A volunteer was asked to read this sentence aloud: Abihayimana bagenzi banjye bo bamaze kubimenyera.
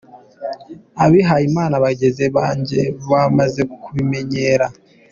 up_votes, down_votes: 0, 3